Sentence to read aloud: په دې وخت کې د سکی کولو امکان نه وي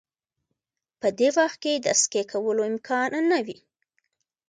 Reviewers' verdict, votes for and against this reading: accepted, 2, 1